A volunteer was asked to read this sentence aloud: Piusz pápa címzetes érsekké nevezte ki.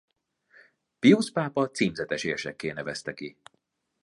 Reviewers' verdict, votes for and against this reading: accepted, 2, 0